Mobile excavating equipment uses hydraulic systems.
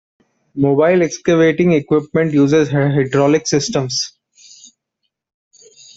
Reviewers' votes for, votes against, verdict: 0, 2, rejected